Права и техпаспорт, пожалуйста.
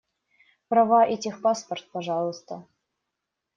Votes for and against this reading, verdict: 2, 0, accepted